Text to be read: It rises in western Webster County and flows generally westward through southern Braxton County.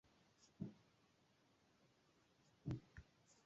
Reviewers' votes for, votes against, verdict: 0, 2, rejected